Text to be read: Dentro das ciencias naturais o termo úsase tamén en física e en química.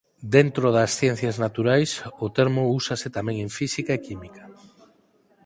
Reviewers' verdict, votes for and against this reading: rejected, 0, 4